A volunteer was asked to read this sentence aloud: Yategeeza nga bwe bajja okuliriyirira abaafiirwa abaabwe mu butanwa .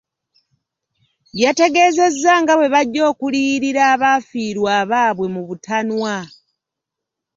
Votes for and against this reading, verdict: 0, 2, rejected